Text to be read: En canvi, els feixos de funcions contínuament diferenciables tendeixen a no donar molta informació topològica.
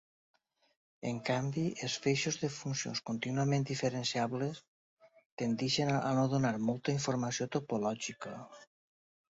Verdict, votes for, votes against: accepted, 2, 0